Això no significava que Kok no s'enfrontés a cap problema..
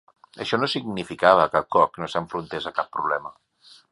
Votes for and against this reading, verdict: 2, 0, accepted